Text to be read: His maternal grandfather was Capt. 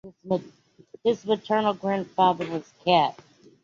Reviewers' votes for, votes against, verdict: 2, 0, accepted